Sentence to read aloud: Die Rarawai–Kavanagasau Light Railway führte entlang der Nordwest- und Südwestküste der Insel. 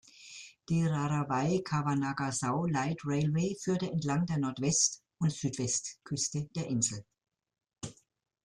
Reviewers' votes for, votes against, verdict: 2, 0, accepted